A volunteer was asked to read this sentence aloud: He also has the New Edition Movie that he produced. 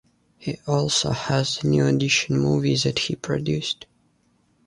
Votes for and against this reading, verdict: 0, 2, rejected